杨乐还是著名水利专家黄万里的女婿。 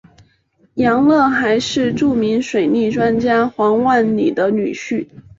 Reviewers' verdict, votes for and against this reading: accepted, 2, 0